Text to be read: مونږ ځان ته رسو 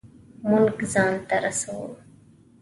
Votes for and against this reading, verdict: 2, 0, accepted